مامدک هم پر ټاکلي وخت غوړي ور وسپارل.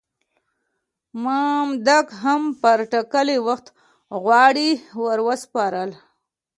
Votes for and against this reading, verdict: 2, 0, accepted